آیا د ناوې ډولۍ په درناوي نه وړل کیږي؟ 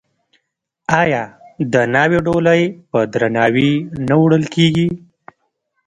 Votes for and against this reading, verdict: 0, 2, rejected